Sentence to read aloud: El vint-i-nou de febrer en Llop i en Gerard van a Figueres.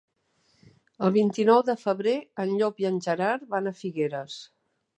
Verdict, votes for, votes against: accepted, 3, 1